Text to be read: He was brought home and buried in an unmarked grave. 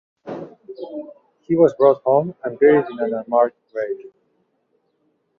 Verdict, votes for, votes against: accepted, 2, 0